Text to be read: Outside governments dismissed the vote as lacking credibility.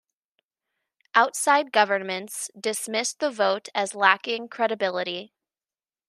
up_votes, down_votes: 2, 1